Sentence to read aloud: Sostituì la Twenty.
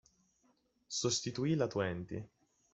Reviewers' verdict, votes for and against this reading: accepted, 2, 1